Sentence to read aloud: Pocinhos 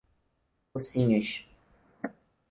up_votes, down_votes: 2, 2